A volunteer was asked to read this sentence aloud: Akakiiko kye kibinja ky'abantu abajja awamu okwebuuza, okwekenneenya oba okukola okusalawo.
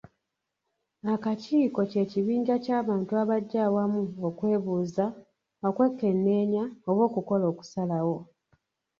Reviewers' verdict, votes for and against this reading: rejected, 1, 2